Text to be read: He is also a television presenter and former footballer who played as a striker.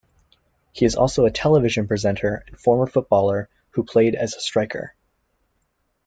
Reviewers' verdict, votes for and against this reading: accepted, 2, 0